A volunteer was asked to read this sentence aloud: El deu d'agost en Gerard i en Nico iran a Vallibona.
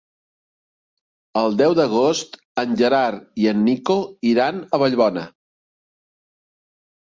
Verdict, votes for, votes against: rejected, 0, 2